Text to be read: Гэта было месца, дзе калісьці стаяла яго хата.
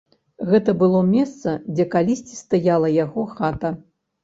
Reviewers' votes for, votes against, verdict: 2, 0, accepted